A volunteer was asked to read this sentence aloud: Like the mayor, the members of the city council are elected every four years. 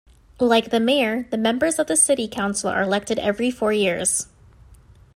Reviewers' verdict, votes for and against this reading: accepted, 2, 0